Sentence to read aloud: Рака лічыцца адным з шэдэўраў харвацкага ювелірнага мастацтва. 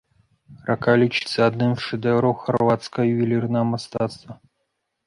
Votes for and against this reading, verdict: 0, 2, rejected